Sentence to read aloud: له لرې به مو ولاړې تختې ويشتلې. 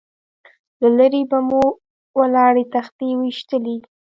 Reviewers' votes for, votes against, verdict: 2, 0, accepted